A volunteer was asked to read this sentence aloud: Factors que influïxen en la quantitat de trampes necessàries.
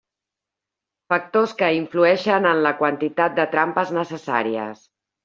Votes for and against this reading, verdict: 2, 0, accepted